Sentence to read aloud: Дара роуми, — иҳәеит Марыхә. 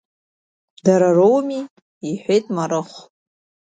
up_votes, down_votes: 2, 0